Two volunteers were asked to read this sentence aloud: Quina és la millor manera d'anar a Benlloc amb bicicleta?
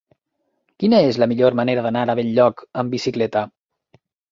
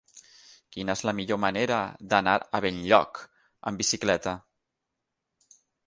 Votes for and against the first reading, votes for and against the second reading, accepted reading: 0, 2, 6, 3, second